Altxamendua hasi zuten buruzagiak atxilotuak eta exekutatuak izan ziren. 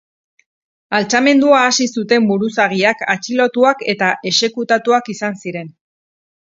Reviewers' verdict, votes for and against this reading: accepted, 2, 0